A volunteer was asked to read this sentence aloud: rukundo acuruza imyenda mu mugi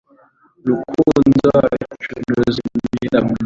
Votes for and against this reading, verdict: 1, 2, rejected